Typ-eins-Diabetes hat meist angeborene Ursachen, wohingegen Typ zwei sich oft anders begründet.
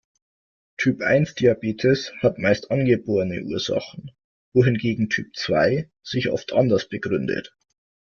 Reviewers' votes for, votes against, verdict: 2, 0, accepted